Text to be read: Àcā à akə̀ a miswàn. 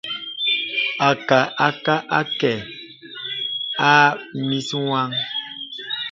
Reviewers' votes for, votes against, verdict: 1, 2, rejected